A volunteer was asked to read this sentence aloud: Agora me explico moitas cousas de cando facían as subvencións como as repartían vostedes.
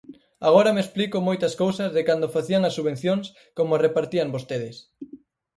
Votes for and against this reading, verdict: 4, 0, accepted